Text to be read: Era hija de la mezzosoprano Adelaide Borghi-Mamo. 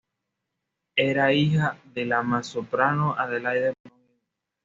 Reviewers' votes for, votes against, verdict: 2, 0, accepted